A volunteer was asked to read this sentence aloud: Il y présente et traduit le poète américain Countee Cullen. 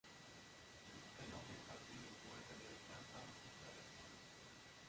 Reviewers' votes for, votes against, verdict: 0, 2, rejected